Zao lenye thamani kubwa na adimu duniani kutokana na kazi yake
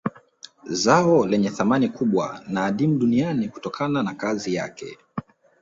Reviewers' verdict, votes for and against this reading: rejected, 1, 2